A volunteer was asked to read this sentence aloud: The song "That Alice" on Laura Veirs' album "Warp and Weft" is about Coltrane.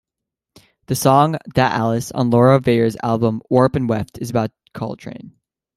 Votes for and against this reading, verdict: 2, 0, accepted